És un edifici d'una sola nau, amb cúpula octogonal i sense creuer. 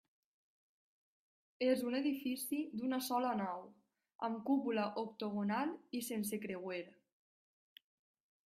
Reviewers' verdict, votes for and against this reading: rejected, 1, 2